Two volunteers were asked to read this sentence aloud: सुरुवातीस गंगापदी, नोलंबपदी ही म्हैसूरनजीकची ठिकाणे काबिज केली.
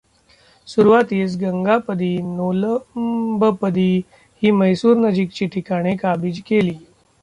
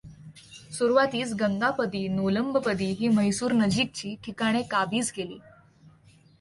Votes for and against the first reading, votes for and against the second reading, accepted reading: 0, 2, 2, 0, second